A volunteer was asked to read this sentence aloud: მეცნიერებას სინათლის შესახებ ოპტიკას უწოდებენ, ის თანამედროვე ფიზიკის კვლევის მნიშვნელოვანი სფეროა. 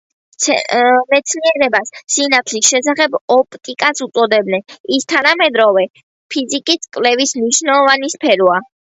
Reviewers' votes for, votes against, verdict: 1, 2, rejected